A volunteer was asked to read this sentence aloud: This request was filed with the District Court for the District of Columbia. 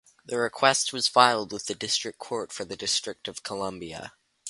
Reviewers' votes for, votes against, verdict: 2, 4, rejected